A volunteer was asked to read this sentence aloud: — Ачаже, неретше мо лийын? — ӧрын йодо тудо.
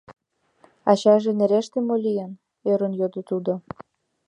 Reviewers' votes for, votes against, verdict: 0, 2, rejected